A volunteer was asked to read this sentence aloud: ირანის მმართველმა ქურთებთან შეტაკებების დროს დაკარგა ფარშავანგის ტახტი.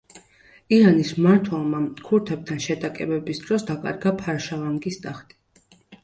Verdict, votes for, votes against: accepted, 2, 0